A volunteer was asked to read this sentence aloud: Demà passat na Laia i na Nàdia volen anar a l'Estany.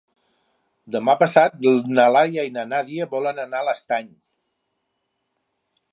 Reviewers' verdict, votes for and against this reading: rejected, 1, 2